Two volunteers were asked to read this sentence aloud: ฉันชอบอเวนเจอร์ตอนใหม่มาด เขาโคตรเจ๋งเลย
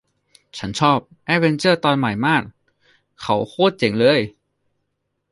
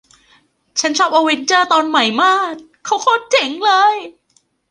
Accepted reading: second